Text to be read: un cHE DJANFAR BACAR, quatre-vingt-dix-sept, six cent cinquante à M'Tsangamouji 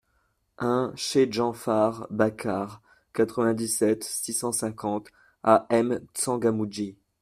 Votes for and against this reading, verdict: 2, 1, accepted